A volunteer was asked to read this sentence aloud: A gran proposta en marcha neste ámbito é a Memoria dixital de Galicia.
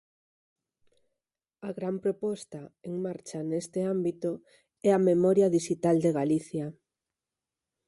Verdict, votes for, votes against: accepted, 4, 0